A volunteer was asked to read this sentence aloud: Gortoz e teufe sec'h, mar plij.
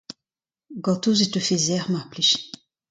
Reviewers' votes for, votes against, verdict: 2, 0, accepted